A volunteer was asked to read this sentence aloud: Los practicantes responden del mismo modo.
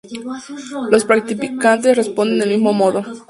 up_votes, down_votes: 2, 2